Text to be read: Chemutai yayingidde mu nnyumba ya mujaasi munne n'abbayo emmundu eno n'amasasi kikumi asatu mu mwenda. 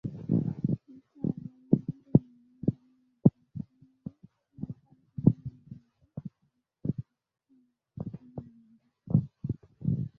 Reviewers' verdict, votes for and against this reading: rejected, 0, 2